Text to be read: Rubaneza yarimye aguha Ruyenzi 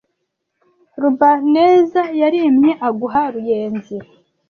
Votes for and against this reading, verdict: 1, 2, rejected